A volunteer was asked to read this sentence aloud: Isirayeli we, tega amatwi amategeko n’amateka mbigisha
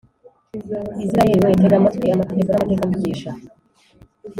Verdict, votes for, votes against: rejected, 0, 2